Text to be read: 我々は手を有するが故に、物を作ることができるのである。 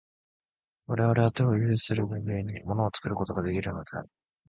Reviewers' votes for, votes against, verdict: 0, 2, rejected